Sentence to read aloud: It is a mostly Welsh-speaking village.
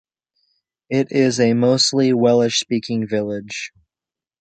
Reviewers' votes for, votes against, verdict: 2, 3, rejected